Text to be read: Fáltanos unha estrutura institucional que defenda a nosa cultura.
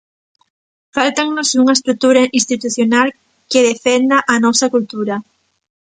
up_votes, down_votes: 1, 2